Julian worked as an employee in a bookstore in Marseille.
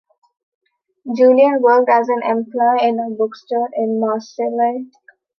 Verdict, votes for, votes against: rejected, 0, 2